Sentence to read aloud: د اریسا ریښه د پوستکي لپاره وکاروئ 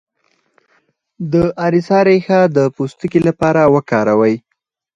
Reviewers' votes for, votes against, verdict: 4, 0, accepted